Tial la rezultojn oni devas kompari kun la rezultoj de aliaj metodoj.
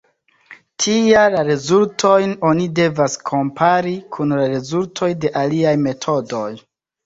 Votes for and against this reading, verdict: 2, 0, accepted